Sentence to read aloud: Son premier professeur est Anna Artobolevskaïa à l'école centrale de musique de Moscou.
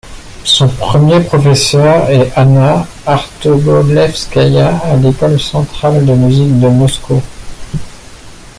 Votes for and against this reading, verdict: 2, 1, accepted